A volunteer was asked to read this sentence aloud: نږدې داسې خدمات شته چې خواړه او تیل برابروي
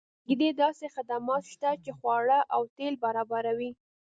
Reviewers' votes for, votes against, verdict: 2, 0, accepted